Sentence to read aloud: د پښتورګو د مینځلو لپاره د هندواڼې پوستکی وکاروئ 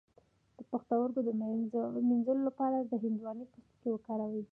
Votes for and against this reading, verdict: 0, 2, rejected